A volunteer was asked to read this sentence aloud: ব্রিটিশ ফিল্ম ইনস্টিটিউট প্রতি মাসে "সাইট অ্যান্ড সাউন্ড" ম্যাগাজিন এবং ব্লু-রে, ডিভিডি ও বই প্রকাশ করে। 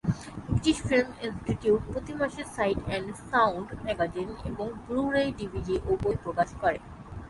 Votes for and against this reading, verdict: 3, 0, accepted